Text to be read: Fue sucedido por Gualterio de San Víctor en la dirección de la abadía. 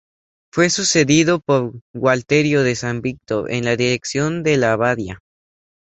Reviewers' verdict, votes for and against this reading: rejected, 0, 2